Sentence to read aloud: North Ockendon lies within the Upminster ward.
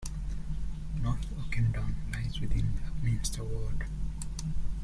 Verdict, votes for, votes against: rejected, 0, 2